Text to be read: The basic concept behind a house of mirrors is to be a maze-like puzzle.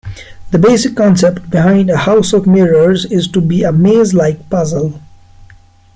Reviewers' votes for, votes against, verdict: 2, 0, accepted